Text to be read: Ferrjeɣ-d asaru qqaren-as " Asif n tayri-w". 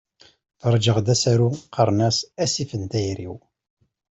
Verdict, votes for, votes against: accepted, 2, 0